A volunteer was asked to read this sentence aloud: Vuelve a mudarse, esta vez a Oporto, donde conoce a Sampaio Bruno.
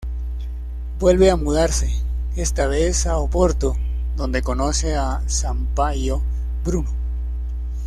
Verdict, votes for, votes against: accepted, 2, 0